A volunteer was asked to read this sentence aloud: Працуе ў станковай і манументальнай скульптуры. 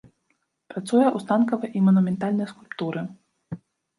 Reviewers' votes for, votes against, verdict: 1, 2, rejected